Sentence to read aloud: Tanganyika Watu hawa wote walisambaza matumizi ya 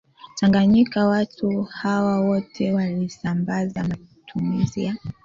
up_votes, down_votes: 1, 2